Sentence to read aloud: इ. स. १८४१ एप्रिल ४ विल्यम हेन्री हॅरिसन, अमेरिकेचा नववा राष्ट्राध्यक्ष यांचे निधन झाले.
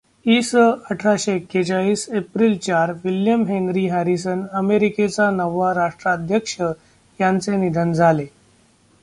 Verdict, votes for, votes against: rejected, 0, 2